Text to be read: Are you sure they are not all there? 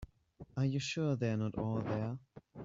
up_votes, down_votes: 2, 0